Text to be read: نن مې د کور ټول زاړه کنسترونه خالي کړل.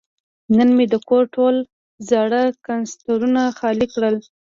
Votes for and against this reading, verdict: 2, 0, accepted